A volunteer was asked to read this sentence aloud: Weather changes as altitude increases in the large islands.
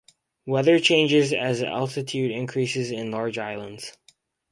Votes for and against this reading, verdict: 2, 2, rejected